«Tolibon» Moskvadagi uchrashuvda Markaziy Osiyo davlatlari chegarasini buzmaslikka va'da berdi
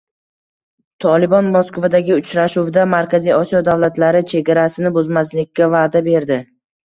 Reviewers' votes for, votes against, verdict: 2, 0, accepted